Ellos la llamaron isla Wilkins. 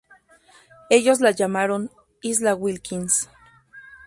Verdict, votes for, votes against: rejected, 0, 2